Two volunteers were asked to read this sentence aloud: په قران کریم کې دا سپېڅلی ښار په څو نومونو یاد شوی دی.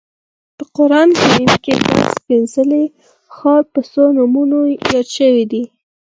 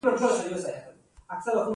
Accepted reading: first